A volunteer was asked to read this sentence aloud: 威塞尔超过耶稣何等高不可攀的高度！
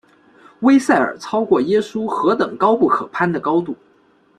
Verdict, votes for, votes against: accepted, 2, 0